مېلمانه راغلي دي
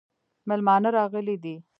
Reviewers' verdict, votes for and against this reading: accepted, 2, 1